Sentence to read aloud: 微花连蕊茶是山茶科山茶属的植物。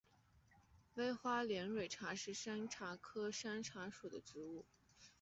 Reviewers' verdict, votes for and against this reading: accepted, 5, 3